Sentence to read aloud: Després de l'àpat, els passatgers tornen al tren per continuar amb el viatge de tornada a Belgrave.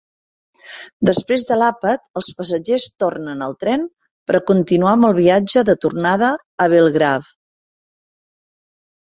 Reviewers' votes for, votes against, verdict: 2, 0, accepted